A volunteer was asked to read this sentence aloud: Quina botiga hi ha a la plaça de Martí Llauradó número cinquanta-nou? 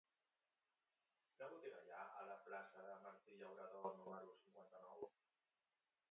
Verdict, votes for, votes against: rejected, 1, 2